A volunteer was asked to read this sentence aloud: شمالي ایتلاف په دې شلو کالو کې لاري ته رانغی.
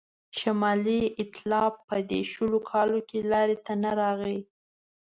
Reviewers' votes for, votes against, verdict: 3, 0, accepted